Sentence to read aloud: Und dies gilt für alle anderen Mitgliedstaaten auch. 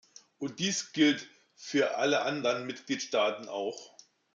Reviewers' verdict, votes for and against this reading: accepted, 2, 1